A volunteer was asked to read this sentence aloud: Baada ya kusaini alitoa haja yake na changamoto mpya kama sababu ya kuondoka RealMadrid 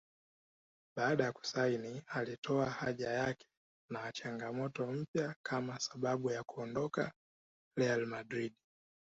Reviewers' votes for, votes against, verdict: 1, 2, rejected